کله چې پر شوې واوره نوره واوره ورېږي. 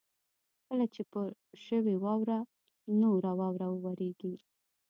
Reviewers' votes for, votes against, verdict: 2, 0, accepted